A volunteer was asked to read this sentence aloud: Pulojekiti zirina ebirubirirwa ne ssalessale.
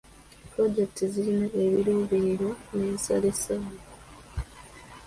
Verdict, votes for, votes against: rejected, 0, 2